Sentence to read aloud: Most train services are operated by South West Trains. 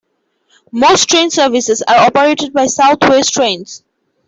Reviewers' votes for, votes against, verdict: 2, 0, accepted